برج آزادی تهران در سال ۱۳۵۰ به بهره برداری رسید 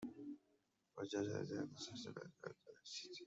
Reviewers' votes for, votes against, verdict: 0, 2, rejected